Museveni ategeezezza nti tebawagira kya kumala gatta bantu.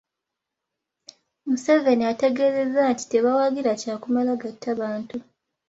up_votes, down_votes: 2, 0